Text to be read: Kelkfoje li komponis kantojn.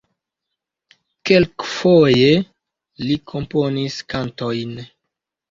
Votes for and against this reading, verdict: 2, 1, accepted